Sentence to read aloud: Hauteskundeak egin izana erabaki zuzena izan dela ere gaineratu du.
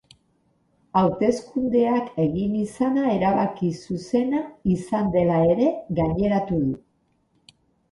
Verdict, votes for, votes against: accepted, 4, 0